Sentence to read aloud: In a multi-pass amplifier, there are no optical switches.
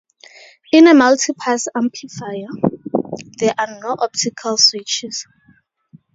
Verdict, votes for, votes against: rejected, 0, 2